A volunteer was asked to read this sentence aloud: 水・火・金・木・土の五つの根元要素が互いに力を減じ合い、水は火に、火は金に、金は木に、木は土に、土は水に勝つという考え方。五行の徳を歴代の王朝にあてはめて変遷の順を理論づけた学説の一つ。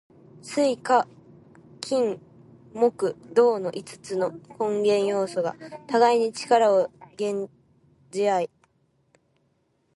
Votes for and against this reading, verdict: 0, 2, rejected